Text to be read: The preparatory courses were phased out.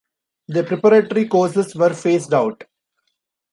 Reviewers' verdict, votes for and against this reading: accepted, 2, 0